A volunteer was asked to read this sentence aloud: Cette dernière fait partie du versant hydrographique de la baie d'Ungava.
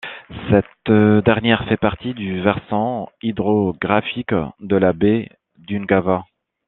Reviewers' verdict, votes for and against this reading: rejected, 1, 2